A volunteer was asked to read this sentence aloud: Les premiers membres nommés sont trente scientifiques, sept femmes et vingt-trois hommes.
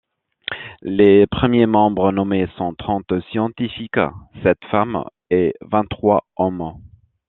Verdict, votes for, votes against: accepted, 2, 1